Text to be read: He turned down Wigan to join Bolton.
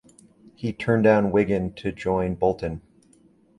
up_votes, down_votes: 2, 0